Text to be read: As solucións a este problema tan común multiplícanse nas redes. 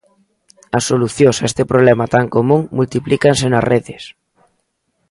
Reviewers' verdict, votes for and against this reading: accepted, 2, 1